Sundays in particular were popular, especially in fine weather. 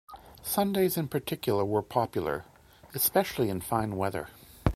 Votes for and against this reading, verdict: 2, 0, accepted